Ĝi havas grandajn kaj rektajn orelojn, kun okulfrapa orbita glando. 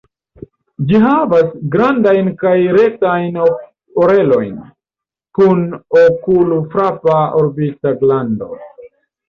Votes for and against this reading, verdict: 2, 0, accepted